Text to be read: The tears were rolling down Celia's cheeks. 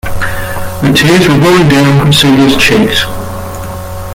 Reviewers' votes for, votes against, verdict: 0, 2, rejected